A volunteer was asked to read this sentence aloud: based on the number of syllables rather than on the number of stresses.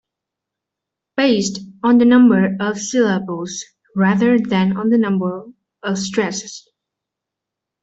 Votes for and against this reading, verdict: 2, 1, accepted